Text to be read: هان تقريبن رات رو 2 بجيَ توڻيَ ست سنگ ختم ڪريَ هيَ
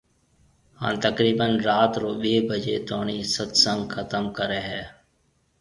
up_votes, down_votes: 0, 2